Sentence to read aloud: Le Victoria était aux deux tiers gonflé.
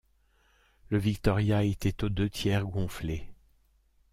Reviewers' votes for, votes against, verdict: 2, 0, accepted